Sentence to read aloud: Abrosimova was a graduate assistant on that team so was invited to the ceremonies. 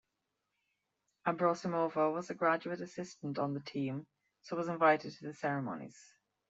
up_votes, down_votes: 1, 2